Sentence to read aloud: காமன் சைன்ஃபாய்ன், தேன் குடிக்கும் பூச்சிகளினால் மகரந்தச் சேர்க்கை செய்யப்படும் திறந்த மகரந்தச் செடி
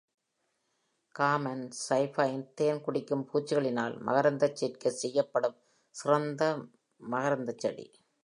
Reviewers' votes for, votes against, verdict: 2, 0, accepted